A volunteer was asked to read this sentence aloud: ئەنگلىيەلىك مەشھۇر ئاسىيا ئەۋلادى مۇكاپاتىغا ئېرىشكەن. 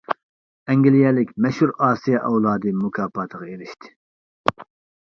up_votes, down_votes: 0, 2